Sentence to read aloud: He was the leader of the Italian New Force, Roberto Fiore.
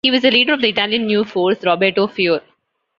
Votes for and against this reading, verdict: 1, 2, rejected